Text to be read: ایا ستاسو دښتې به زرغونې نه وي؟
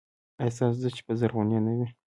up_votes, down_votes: 2, 1